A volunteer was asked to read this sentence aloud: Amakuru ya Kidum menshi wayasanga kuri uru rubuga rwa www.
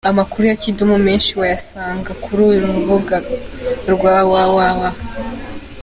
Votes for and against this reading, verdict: 2, 0, accepted